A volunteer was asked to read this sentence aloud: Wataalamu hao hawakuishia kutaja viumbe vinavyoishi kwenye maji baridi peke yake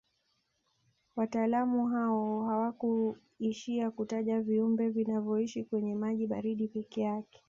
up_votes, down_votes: 1, 2